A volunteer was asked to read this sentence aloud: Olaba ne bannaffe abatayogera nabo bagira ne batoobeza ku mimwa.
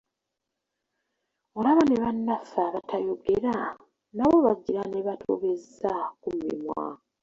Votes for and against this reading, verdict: 0, 2, rejected